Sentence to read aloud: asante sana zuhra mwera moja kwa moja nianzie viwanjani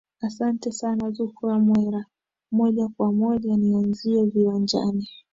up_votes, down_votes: 2, 0